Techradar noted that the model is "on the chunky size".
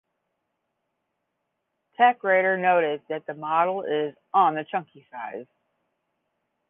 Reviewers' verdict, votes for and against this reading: accepted, 10, 0